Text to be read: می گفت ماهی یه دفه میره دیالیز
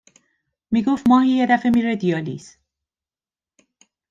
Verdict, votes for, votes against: accepted, 2, 0